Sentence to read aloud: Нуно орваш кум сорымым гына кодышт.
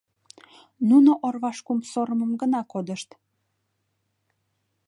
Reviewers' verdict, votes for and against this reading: accepted, 2, 0